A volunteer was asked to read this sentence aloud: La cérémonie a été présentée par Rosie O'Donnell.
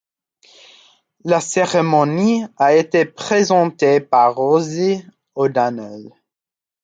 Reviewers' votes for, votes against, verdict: 2, 0, accepted